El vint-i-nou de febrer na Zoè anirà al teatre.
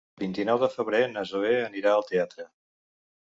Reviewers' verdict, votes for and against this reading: rejected, 1, 2